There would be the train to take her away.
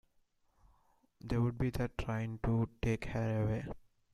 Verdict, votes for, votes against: accepted, 2, 0